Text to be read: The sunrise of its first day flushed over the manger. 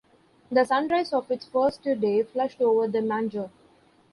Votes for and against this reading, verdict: 1, 2, rejected